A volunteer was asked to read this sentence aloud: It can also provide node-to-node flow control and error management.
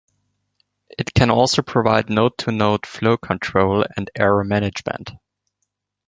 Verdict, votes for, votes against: rejected, 1, 2